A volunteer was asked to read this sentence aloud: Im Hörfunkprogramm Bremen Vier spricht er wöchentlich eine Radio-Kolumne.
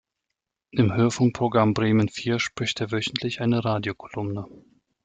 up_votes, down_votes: 2, 0